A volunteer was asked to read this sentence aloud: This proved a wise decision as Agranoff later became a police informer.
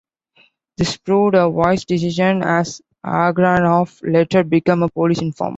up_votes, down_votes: 2, 1